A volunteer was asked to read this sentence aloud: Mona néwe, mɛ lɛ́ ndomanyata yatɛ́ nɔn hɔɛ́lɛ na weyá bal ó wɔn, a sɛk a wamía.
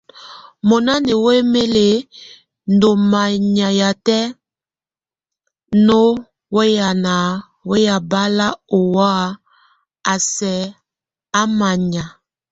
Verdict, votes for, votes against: rejected, 0, 2